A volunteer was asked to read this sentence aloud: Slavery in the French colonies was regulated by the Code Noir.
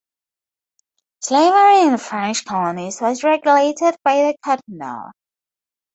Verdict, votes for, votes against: rejected, 2, 2